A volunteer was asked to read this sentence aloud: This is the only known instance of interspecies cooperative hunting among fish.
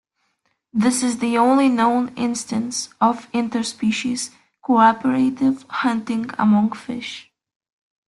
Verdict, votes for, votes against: accepted, 2, 0